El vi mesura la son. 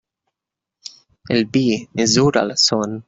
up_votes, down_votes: 1, 2